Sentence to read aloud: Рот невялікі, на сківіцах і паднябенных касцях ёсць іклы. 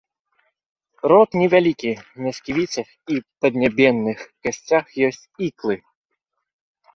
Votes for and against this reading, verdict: 0, 2, rejected